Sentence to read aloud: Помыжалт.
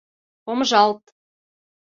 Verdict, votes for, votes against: accepted, 2, 0